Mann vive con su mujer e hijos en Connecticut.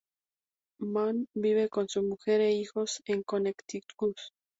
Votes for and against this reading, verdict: 2, 0, accepted